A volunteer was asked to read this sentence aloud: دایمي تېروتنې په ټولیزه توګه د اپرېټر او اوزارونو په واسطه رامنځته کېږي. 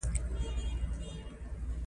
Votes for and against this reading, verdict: 2, 1, accepted